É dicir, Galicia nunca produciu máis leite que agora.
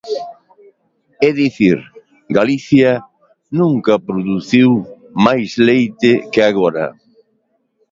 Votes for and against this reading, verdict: 2, 0, accepted